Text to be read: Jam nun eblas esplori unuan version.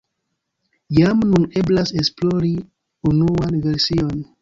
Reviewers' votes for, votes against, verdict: 1, 2, rejected